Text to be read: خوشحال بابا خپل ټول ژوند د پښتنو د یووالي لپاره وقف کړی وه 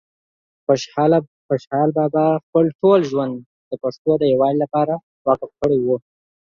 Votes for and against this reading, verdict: 2, 1, accepted